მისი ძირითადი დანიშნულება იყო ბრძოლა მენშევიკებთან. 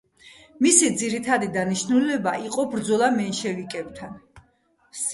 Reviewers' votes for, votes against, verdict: 3, 1, accepted